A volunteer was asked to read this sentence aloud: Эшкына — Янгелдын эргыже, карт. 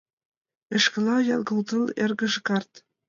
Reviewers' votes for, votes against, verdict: 1, 2, rejected